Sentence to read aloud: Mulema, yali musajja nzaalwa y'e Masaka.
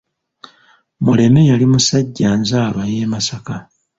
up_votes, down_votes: 1, 2